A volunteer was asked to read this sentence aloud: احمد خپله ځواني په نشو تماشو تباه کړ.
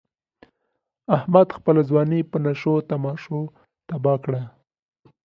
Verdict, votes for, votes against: accepted, 2, 0